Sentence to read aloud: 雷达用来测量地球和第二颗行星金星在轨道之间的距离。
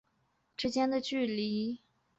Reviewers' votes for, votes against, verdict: 0, 2, rejected